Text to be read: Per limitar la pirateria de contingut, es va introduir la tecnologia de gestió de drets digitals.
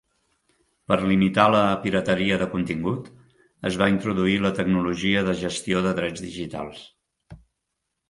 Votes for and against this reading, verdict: 3, 1, accepted